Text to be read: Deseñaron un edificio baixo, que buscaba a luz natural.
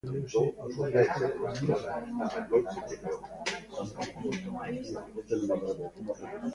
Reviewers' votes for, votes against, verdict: 0, 2, rejected